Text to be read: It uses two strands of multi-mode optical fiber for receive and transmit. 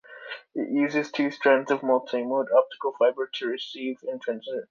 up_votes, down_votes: 0, 2